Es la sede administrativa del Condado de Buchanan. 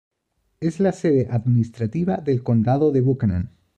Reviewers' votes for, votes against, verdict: 2, 0, accepted